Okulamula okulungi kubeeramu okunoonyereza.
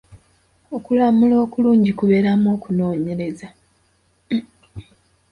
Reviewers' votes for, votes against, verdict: 2, 0, accepted